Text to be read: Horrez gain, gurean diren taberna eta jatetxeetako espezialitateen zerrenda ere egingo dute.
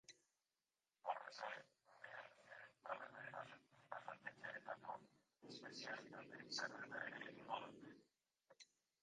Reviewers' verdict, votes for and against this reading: rejected, 0, 2